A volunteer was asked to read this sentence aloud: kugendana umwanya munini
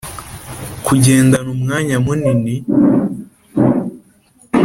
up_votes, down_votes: 5, 0